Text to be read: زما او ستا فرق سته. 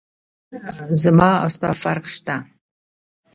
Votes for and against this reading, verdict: 0, 2, rejected